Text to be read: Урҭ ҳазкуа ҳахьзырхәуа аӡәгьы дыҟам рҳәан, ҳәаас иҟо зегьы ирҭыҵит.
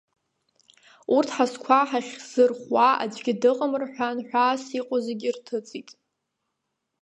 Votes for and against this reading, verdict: 1, 2, rejected